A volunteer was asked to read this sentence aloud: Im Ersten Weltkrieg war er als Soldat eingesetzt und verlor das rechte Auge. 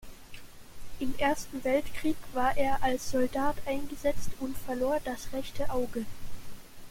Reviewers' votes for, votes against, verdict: 2, 0, accepted